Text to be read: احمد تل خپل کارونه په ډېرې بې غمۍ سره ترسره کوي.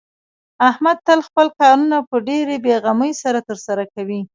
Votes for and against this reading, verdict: 1, 2, rejected